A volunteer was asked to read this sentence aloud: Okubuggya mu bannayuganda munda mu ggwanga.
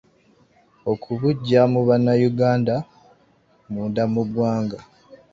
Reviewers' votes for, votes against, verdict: 3, 1, accepted